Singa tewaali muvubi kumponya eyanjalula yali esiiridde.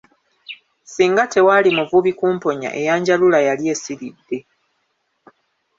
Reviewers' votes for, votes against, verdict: 3, 1, accepted